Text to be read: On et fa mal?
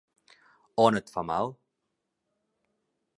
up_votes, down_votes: 2, 0